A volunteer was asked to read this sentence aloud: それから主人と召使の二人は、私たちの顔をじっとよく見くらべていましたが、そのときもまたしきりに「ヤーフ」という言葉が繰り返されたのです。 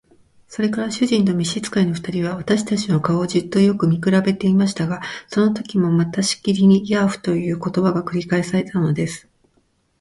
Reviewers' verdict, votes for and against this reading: accepted, 3, 1